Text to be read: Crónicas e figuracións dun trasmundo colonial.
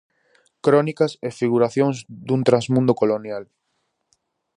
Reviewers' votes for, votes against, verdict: 4, 0, accepted